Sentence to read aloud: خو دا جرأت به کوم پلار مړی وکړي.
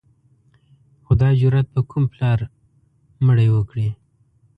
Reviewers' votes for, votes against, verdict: 2, 1, accepted